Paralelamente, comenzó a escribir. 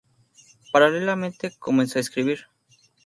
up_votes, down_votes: 4, 0